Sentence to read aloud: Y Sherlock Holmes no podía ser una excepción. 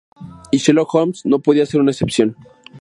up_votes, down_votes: 2, 0